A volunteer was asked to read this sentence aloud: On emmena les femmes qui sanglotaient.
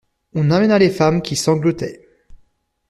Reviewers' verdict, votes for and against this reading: rejected, 0, 2